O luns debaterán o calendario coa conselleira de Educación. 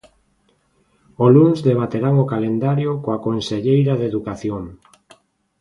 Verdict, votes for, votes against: accepted, 2, 0